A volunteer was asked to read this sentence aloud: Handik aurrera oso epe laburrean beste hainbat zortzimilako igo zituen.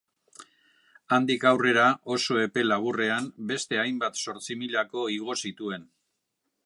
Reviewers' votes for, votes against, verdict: 2, 0, accepted